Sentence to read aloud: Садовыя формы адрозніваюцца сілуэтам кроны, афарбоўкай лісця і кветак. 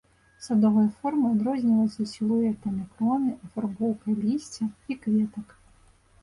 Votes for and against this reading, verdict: 2, 0, accepted